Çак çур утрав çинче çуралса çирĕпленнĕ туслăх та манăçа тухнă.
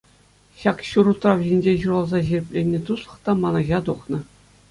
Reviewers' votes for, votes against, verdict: 2, 0, accepted